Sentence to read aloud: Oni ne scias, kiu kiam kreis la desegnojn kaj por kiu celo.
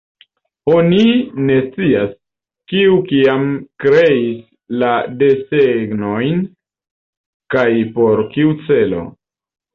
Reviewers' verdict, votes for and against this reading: rejected, 1, 2